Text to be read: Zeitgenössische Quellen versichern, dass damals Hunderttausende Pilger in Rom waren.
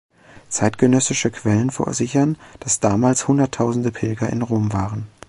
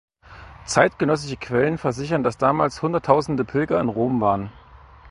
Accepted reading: second